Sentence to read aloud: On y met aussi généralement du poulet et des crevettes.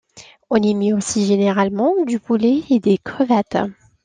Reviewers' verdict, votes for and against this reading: accepted, 2, 0